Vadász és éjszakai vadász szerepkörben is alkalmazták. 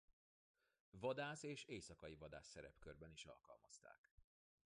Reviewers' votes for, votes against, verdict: 2, 1, accepted